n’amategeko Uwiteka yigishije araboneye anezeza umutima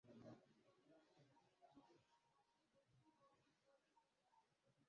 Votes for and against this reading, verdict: 0, 2, rejected